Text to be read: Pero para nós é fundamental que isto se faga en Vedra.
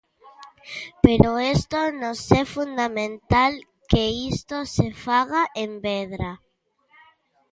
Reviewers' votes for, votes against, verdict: 0, 2, rejected